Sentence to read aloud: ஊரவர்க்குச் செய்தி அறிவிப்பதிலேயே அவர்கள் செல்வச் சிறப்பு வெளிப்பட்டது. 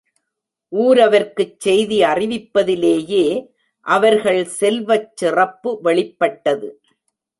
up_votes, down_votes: 2, 0